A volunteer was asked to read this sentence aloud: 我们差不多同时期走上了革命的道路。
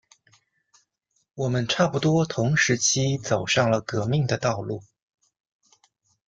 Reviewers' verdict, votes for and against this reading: accepted, 2, 0